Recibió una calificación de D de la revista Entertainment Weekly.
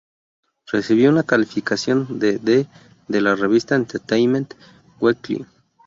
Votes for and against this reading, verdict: 2, 0, accepted